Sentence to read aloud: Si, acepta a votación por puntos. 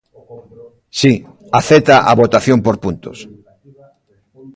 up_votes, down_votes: 0, 2